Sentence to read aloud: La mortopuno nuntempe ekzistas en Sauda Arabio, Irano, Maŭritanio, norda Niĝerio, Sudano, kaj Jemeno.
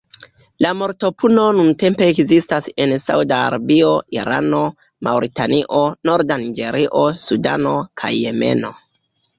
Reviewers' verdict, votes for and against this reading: rejected, 1, 2